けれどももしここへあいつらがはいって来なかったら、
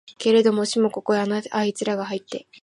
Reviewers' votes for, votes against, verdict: 0, 2, rejected